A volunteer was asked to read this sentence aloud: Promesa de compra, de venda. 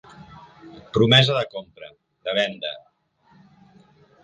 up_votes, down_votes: 1, 2